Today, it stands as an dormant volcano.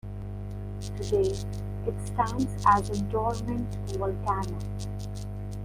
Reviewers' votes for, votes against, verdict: 2, 0, accepted